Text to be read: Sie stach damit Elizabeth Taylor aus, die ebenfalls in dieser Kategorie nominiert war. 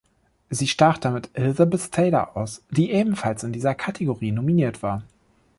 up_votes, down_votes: 2, 0